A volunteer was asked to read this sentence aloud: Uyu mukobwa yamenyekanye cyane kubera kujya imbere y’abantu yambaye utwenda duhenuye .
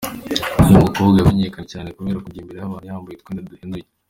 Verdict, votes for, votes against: accepted, 2, 1